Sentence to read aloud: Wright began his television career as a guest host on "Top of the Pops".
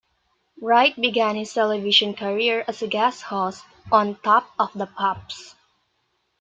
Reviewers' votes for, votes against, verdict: 0, 2, rejected